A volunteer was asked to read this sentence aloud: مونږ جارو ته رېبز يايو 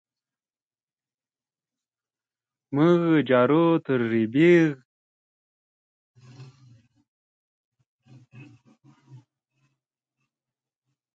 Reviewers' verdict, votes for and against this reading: rejected, 0, 2